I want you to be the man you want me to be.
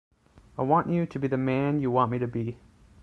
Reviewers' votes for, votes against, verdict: 2, 0, accepted